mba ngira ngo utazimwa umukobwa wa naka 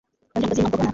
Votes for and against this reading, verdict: 1, 2, rejected